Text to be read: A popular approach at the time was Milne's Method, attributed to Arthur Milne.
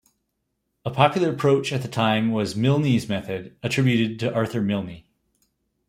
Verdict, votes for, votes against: accepted, 2, 0